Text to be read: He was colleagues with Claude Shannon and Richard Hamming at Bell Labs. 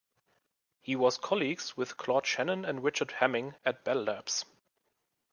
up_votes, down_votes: 2, 0